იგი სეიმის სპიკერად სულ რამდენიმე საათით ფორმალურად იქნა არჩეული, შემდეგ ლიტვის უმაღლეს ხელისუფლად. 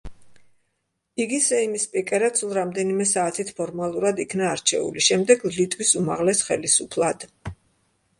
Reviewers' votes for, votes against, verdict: 2, 0, accepted